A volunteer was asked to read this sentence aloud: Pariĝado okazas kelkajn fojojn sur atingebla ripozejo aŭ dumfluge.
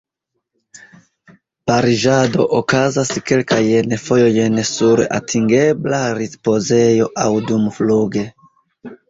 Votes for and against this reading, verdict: 0, 2, rejected